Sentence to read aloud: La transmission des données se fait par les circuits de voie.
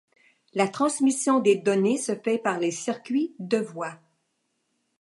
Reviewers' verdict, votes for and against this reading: accepted, 2, 0